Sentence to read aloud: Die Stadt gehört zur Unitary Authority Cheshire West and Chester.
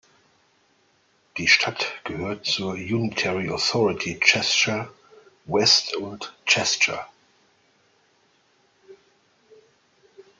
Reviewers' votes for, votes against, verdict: 1, 2, rejected